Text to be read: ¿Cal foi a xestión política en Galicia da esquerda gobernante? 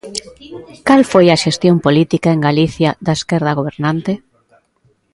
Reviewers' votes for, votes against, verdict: 2, 0, accepted